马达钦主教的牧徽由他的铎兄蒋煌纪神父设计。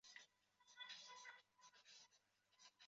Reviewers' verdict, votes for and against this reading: rejected, 0, 2